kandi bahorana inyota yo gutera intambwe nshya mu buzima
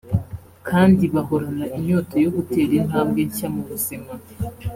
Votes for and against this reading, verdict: 2, 0, accepted